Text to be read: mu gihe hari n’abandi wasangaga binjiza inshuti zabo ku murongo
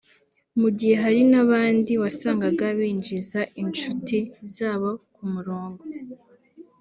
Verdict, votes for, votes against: rejected, 0, 2